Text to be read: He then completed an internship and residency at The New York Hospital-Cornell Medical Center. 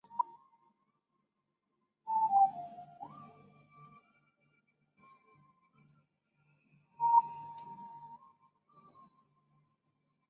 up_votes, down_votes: 0, 2